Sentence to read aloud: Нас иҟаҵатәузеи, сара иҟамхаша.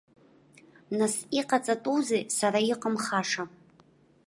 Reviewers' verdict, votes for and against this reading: accepted, 2, 0